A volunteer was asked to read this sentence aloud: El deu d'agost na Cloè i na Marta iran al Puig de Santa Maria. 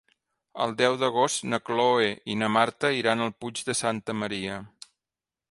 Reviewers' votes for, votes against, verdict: 3, 1, accepted